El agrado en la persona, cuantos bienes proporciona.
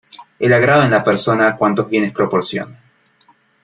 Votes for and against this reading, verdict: 2, 0, accepted